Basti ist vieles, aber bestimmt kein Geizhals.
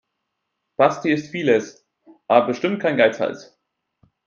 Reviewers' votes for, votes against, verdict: 0, 2, rejected